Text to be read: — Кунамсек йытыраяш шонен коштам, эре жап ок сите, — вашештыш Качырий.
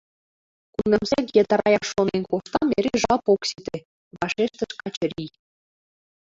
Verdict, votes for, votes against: rejected, 0, 2